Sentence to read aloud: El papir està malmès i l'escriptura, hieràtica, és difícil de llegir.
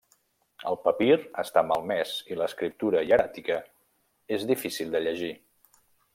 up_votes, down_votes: 1, 2